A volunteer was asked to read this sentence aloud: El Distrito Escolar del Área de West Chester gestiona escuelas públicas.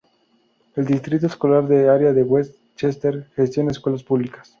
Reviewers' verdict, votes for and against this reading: rejected, 0, 2